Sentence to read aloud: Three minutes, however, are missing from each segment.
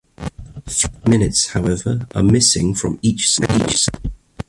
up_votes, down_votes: 0, 2